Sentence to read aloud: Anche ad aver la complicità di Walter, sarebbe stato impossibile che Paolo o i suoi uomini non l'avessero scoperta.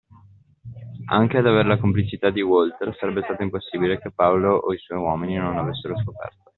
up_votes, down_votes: 2, 0